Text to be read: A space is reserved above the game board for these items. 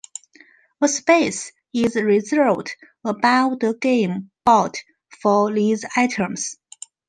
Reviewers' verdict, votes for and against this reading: rejected, 0, 2